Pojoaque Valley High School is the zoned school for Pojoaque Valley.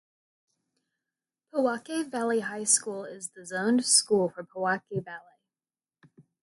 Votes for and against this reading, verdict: 0, 2, rejected